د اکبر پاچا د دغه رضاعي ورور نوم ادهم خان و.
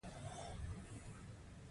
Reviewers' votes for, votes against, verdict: 2, 0, accepted